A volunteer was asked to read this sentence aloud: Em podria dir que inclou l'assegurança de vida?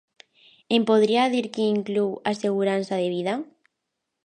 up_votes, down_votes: 1, 2